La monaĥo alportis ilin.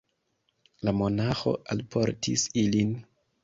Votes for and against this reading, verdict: 2, 0, accepted